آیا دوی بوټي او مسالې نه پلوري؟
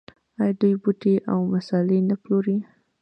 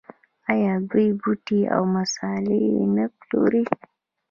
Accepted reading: first